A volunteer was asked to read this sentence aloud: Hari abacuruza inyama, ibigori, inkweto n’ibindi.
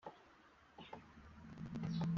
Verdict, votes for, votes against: rejected, 0, 2